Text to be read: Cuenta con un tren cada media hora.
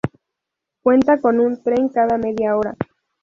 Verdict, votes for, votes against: rejected, 0, 2